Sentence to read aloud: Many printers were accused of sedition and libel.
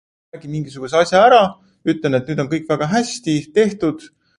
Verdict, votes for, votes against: rejected, 0, 2